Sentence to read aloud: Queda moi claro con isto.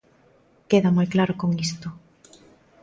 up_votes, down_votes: 2, 0